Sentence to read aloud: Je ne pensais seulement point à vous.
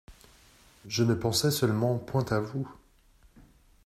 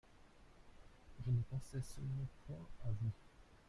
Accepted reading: first